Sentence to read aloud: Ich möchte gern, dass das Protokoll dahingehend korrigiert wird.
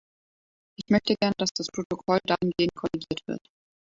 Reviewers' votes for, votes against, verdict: 0, 2, rejected